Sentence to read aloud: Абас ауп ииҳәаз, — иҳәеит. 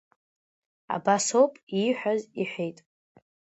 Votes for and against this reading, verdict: 2, 0, accepted